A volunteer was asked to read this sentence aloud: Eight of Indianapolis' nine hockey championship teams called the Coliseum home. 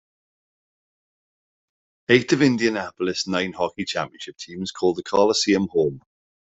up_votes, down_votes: 2, 0